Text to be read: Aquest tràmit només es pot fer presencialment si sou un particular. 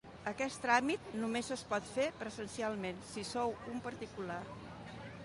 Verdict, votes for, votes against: accepted, 2, 1